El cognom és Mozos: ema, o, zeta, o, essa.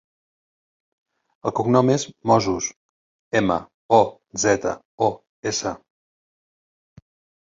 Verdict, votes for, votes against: accepted, 4, 0